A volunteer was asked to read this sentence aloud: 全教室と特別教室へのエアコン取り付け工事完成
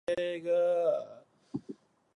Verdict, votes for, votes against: rejected, 1, 2